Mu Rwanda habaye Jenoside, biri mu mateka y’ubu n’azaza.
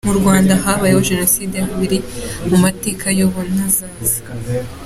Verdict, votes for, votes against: accepted, 2, 1